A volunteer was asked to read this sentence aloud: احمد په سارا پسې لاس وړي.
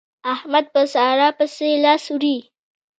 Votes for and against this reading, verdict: 2, 0, accepted